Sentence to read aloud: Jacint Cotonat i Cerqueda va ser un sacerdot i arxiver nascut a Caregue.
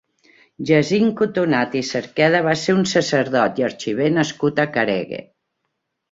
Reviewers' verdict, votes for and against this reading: accepted, 2, 1